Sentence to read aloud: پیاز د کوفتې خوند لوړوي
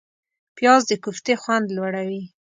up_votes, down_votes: 2, 0